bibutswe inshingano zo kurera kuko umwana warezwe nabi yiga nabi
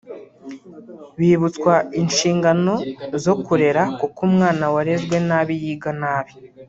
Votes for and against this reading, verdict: 1, 2, rejected